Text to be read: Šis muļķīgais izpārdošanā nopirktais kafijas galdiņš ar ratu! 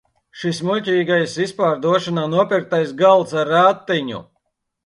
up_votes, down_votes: 0, 2